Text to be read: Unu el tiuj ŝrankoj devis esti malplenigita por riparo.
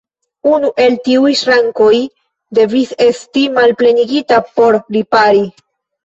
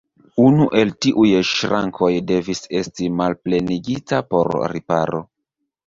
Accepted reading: second